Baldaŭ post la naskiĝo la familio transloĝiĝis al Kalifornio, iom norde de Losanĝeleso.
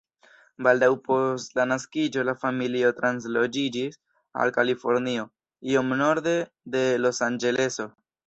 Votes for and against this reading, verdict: 2, 0, accepted